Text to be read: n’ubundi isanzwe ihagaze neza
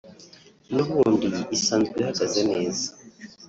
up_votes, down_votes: 1, 2